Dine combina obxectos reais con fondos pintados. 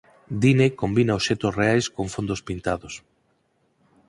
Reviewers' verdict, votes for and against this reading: accepted, 4, 0